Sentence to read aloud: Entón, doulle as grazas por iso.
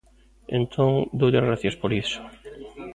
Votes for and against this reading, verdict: 0, 2, rejected